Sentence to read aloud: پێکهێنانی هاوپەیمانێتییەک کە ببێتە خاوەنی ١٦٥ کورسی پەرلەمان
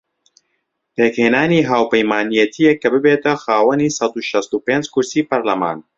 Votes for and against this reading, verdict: 0, 2, rejected